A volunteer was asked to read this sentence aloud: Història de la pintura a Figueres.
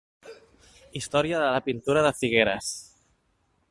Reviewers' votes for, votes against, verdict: 1, 2, rejected